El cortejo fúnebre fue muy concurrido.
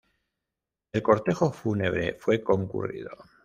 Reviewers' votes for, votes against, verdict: 1, 2, rejected